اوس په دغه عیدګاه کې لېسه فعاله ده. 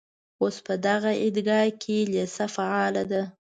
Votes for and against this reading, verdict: 2, 0, accepted